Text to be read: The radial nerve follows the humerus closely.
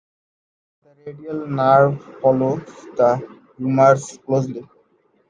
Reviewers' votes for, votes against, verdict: 0, 2, rejected